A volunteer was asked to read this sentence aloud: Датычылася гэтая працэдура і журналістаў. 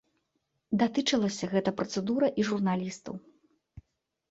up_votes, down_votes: 1, 2